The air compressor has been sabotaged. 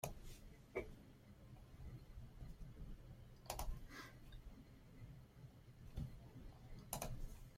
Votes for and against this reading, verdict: 0, 2, rejected